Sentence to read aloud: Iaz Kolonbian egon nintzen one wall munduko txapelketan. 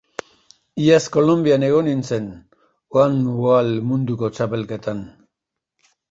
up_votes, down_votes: 0, 2